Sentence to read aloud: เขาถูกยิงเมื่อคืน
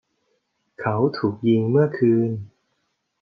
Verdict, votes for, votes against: accepted, 2, 0